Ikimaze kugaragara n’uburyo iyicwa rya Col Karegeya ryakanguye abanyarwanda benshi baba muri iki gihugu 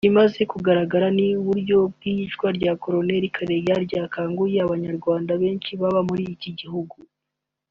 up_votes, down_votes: 0, 2